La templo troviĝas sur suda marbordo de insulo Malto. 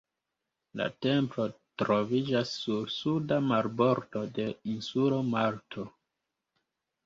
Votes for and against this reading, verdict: 2, 1, accepted